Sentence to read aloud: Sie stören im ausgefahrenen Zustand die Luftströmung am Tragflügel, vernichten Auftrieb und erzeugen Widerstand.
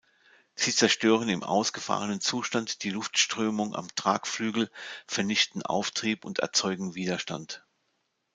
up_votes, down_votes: 0, 2